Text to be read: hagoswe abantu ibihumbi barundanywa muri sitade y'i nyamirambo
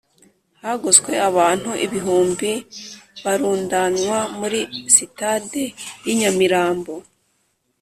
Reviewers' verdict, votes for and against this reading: accepted, 3, 0